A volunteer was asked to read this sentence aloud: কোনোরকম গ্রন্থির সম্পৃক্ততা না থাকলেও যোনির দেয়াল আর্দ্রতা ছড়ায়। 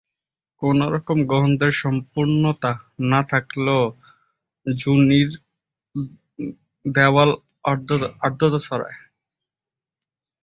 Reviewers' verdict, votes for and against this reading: rejected, 0, 2